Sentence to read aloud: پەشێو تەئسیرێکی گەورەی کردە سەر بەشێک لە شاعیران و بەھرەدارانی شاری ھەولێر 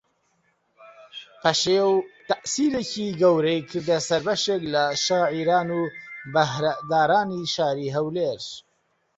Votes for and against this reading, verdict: 2, 0, accepted